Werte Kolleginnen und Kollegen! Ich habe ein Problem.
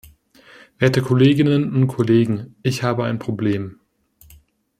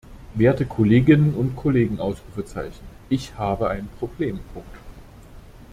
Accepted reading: first